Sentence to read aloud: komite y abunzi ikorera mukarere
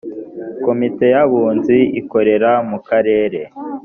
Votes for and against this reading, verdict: 2, 0, accepted